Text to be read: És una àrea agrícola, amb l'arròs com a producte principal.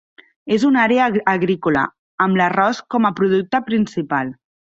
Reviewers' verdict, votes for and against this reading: rejected, 1, 2